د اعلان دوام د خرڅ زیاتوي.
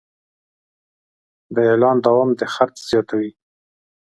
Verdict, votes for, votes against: accepted, 2, 0